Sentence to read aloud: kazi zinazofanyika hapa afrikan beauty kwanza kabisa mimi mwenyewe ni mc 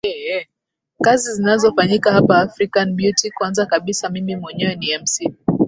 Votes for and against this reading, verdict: 1, 2, rejected